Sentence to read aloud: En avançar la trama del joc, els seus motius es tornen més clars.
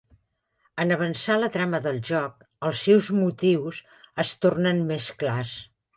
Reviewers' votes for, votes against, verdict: 2, 0, accepted